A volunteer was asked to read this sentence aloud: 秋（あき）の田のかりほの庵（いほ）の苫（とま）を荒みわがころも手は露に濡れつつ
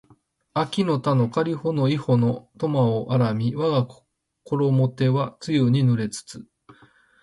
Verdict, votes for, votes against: rejected, 0, 2